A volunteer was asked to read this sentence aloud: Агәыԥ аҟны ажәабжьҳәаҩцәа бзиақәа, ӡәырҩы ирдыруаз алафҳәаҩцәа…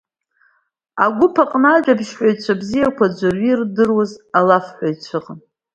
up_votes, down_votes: 2, 0